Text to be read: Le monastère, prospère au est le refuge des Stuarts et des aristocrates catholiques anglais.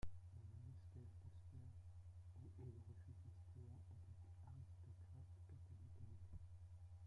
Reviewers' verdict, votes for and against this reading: rejected, 0, 2